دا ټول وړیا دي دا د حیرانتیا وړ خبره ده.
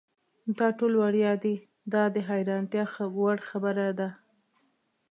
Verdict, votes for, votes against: accepted, 2, 0